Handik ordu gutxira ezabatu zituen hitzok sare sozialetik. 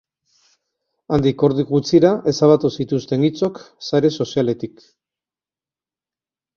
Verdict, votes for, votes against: rejected, 0, 2